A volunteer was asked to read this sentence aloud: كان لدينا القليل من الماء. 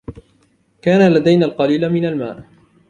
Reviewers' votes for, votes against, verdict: 2, 0, accepted